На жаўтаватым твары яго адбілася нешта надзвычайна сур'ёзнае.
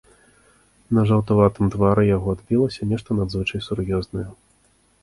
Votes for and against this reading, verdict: 1, 3, rejected